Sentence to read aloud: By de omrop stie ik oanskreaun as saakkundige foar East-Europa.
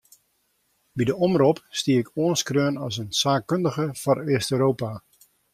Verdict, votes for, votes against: rejected, 1, 2